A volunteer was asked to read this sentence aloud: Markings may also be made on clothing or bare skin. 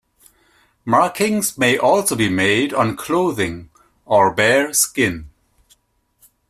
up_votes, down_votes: 2, 0